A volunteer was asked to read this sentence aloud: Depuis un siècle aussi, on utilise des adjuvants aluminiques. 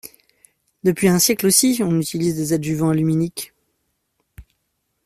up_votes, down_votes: 2, 0